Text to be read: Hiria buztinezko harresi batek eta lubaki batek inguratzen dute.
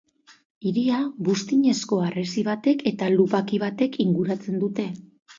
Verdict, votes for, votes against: accepted, 2, 0